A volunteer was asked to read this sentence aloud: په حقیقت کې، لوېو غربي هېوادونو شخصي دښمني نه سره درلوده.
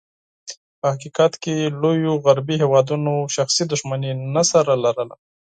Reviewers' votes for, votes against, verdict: 4, 0, accepted